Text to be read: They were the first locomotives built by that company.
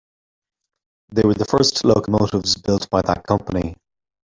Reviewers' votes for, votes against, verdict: 0, 2, rejected